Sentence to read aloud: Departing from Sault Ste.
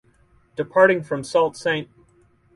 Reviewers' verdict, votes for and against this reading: rejected, 2, 2